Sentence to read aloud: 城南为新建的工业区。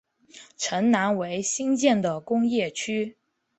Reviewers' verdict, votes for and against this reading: accepted, 2, 0